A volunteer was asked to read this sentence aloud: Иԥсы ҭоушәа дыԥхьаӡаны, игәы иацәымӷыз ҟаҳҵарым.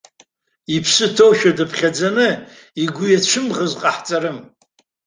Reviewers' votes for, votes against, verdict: 2, 0, accepted